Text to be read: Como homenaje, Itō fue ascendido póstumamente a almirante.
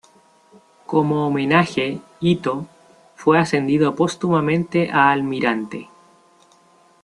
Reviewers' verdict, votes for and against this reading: rejected, 0, 2